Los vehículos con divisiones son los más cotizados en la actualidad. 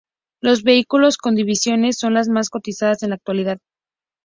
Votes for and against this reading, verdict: 4, 0, accepted